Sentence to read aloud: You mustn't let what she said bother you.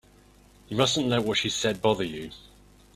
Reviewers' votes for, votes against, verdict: 1, 2, rejected